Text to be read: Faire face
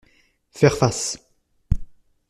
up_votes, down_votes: 2, 0